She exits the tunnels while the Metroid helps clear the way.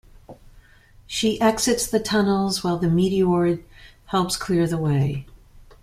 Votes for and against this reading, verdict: 1, 2, rejected